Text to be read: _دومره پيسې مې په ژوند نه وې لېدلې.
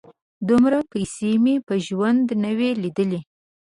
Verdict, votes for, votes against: accepted, 2, 0